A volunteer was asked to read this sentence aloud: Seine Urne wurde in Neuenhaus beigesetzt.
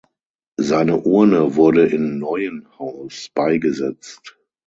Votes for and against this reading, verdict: 6, 0, accepted